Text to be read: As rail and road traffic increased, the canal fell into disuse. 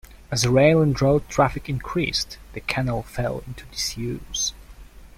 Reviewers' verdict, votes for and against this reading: rejected, 1, 2